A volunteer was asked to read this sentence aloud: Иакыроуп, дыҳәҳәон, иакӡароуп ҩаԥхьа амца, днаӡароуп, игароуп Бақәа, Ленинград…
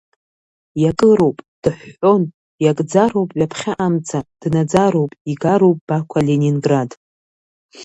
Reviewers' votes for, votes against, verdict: 1, 2, rejected